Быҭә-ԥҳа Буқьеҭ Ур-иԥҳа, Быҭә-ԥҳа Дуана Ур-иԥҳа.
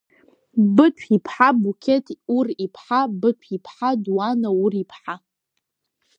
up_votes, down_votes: 0, 2